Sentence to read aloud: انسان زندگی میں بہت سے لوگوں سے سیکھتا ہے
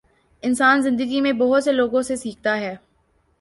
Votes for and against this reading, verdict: 2, 0, accepted